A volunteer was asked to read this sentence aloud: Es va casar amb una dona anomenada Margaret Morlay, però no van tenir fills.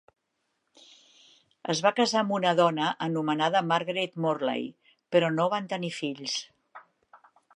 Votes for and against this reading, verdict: 2, 0, accepted